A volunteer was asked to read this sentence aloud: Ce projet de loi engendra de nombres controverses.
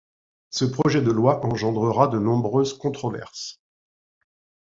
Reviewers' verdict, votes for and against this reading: accepted, 2, 0